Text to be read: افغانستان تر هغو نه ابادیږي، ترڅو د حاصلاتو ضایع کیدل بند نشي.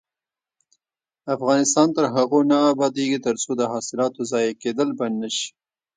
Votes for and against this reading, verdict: 0, 2, rejected